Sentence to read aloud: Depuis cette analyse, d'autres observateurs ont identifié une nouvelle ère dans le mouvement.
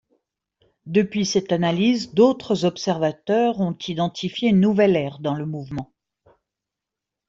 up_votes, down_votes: 2, 0